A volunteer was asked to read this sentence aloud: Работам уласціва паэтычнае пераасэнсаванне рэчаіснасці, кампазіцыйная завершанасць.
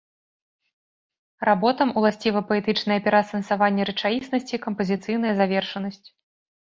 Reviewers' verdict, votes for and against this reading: accepted, 2, 0